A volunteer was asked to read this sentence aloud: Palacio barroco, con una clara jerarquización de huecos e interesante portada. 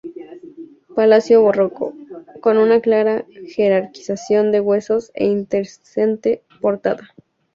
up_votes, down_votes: 2, 0